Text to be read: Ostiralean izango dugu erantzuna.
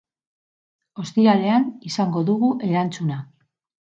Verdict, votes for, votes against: accepted, 4, 0